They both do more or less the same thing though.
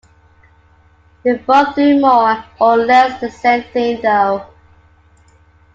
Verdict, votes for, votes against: accepted, 2, 0